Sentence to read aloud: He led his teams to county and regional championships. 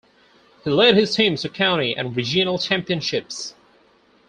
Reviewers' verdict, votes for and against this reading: accepted, 4, 0